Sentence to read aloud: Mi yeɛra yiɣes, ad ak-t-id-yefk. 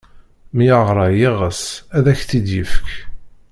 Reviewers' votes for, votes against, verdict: 1, 2, rejected